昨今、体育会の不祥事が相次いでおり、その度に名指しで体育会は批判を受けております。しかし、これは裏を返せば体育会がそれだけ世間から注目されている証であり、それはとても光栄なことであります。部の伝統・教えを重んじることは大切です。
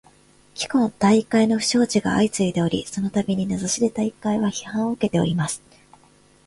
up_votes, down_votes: 0, 2